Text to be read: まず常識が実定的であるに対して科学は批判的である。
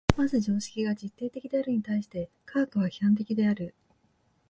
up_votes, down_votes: 4, 2